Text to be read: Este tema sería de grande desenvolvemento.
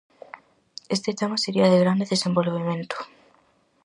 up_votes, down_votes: 4, 0